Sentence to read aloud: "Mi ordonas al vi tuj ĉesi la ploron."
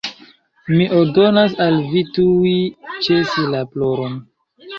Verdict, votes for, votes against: rejected, 1, 2